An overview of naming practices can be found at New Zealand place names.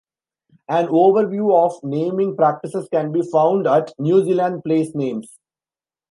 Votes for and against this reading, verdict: 2, 0, accepted